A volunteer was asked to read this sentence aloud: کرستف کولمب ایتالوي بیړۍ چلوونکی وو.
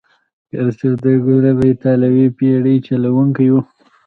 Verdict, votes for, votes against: accepted, 2, 0